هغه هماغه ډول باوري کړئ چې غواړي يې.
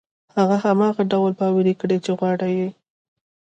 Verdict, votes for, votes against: rejected, 1, 2